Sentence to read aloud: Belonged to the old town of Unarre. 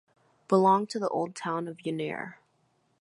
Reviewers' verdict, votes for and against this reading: accepted, 2, 0